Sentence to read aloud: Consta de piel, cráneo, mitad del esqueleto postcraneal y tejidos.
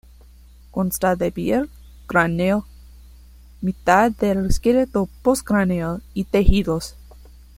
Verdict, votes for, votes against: accepted, 2, 0